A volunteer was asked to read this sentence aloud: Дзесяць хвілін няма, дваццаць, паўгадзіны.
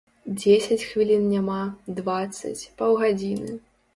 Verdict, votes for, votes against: accepted, 3, 0